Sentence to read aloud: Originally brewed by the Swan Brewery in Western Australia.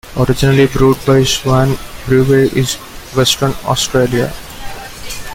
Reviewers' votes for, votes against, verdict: 1, 2, rejected